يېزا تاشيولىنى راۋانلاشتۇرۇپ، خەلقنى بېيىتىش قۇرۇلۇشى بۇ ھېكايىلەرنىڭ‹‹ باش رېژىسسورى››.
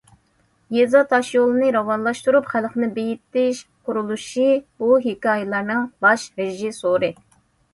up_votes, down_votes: 2, 0